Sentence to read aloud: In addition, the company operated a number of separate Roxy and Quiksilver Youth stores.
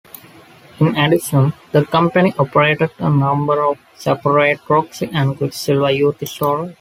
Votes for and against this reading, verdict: 2, 0, accepted